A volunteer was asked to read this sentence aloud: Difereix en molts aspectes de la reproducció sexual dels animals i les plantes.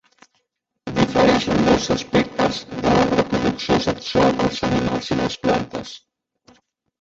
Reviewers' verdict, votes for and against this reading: rejected, 0, 2